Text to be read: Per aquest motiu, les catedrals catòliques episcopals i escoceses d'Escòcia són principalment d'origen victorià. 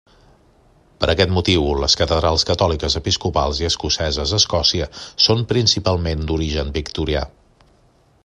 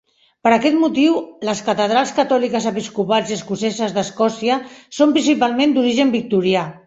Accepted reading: first